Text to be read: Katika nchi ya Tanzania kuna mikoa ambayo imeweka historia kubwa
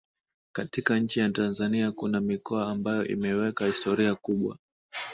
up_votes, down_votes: 2, 0